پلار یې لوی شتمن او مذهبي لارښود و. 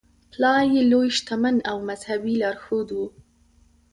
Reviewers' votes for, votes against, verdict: 2, 0, accepted